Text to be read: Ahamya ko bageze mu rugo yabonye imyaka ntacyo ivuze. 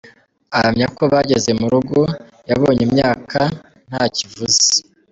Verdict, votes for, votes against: accepted, 2, 0